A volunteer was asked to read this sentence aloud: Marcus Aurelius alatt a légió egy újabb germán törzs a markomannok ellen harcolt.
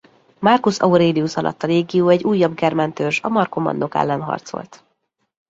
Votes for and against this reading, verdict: 2, 0, accepted